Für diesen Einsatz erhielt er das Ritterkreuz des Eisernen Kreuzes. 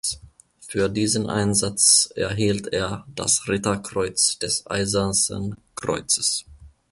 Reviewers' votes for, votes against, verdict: 0, 2, rejected